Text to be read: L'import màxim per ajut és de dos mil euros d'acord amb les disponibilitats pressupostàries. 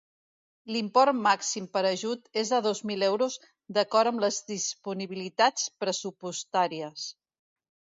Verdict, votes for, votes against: accepted, 2, 1